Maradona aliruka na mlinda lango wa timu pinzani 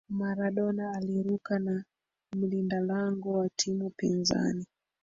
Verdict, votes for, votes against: rejected, 1, 2